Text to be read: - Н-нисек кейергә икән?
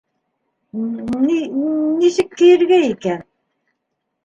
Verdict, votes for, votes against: accepted, 2, 1